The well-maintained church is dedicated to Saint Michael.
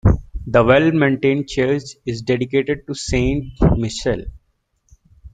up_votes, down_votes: 0, 2